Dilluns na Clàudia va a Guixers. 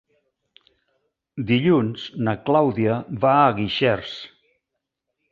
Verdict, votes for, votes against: accepted, 3, 1